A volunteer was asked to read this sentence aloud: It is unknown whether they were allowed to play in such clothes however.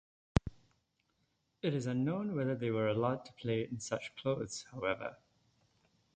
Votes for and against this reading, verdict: 2, 0, accepted